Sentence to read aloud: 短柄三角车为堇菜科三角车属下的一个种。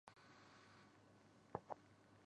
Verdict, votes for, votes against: rejected, 0, 3